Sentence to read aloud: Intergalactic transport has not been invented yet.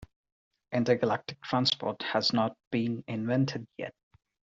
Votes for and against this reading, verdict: 2, 0, accepted